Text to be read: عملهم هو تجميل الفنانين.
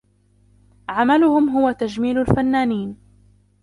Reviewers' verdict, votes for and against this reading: accepted, 2, 1